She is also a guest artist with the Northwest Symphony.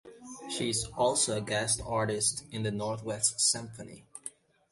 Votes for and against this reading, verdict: 0, 2, rejected